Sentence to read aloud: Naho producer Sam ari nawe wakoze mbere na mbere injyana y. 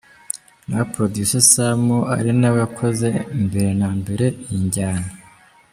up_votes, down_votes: 0, 2